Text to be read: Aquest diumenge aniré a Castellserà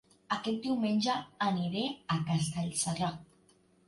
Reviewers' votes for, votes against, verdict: 2, 0, accepted